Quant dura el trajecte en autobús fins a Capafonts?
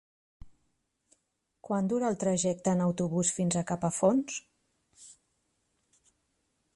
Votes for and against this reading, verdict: 3, 0, accepted